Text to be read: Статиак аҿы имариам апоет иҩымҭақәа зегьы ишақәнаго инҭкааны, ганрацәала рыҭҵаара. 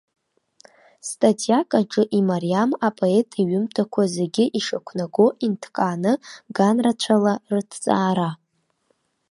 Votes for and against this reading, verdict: 2, 0, accepted